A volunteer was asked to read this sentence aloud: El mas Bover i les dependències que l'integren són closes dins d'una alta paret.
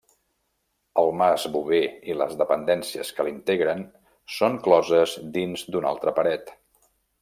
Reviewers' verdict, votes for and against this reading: rejected, 0, 2